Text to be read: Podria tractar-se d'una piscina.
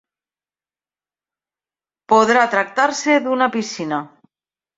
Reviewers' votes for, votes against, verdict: 1, 2, rejected